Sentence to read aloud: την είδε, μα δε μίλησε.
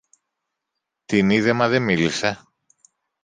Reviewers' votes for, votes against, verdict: 2, 0, accepted